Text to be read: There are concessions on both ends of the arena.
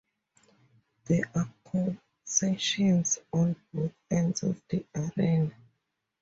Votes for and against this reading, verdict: 2, 0, accepted